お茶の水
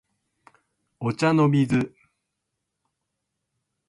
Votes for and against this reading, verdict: 2, 0, accepted